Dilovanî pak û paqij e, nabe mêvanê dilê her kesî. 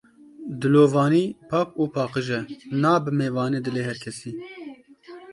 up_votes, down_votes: 1, 2